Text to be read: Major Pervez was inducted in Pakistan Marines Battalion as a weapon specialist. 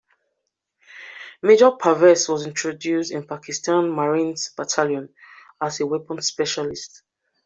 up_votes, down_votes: 0, 2